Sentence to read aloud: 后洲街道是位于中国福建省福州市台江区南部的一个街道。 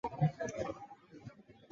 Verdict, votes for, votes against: rejected, 1, 2